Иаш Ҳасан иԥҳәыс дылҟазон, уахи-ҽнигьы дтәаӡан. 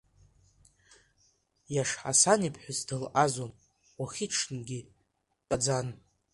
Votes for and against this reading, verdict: 2, 0, accepted